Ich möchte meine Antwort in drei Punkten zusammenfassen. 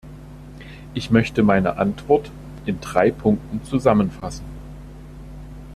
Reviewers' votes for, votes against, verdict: 2, 0, accepted